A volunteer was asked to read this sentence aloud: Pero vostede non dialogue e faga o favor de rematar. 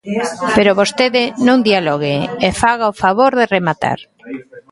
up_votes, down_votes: 0, 2